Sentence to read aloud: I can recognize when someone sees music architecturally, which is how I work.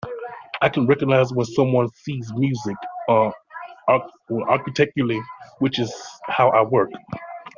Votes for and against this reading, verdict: 1, 2, rejected